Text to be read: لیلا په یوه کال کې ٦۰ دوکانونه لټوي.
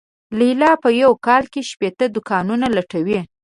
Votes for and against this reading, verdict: 0, 2, rejected